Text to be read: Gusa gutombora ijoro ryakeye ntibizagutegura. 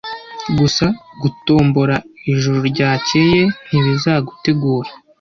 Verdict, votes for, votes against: rejected, 1, 2